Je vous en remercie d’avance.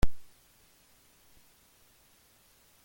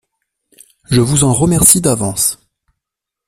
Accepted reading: second